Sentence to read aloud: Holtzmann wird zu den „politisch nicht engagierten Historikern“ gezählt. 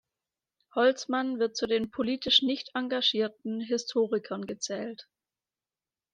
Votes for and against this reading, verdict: 2, 0, accepted